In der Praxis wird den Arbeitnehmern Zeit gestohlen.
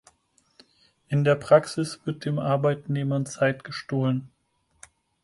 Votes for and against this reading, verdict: 4, 0, accepted